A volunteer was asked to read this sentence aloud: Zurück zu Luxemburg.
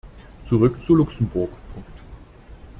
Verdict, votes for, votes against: rejected, 0, 2